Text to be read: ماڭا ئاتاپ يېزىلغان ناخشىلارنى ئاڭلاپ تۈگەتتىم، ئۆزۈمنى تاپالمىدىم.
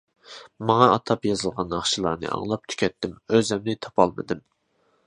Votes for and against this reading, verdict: 2, 1, accepted